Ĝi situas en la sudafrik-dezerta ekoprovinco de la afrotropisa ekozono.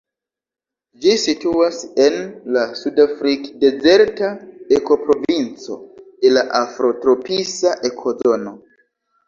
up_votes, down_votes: 0, 2